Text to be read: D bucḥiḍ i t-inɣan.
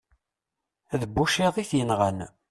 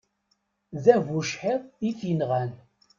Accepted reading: second